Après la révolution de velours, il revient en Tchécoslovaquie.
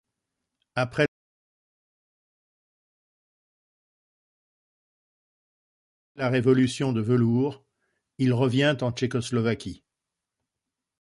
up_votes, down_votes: 0, 2